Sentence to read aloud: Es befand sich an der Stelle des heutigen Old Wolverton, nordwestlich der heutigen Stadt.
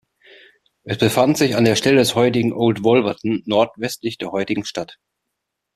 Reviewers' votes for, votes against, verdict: 2, 0, accepted